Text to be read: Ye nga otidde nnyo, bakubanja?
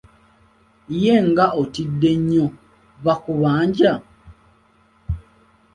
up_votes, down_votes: 2, 0